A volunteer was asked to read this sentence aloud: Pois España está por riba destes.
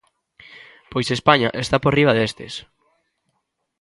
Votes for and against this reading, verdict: 2, 0, accepted